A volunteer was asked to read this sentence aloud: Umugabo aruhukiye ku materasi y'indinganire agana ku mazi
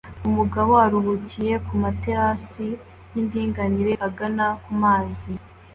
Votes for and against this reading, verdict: 2, 0, accepted